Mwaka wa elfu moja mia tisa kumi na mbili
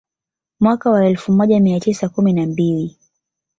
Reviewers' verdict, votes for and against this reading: accepted, 2, 0